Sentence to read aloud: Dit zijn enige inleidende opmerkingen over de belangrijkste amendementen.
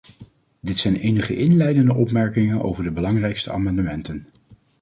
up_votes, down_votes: 2, 1